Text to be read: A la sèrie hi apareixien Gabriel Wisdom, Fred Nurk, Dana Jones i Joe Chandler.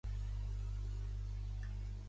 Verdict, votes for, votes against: rejected, 0, 2